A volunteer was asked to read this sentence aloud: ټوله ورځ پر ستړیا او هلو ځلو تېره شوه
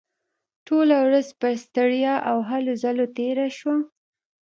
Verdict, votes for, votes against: rejected, 0, 2